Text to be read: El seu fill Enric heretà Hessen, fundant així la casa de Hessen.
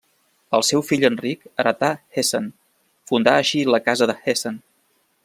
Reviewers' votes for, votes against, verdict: 1, 2, rejected